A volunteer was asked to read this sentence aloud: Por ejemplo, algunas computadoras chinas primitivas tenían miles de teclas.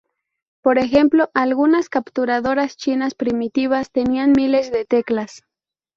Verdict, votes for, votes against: rejected, 0, 2